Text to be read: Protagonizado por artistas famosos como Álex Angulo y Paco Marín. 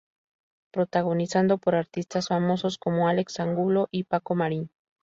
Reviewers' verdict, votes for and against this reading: rejected, 0, 2